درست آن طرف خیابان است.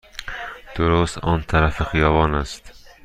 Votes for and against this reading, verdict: 2, 0, accepted